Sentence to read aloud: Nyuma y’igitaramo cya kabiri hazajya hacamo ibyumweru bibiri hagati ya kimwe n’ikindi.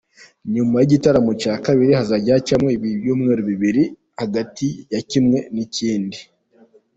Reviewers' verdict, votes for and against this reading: accepted, 2, 0